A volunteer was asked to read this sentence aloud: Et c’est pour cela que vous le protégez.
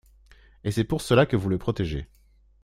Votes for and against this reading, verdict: 2, 0, accepted